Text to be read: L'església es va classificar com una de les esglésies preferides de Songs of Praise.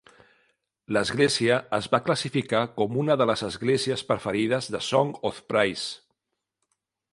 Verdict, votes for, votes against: rejected, 1, 2